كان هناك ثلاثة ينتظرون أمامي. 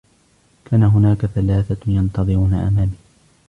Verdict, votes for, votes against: accepted, 2, 1